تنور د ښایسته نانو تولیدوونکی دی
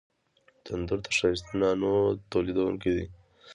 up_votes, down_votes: 2, 0